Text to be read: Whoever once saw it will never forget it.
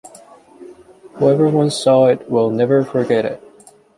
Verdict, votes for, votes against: accepted, 2, 0